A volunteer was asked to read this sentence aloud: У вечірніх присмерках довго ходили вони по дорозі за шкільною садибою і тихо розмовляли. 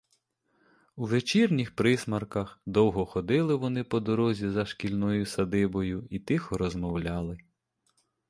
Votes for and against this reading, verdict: 2, 0, accepted